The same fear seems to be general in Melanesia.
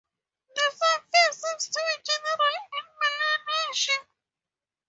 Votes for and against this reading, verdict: 0, 4, rejected